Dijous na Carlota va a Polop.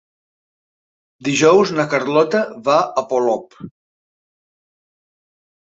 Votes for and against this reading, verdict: 3, 0, accepted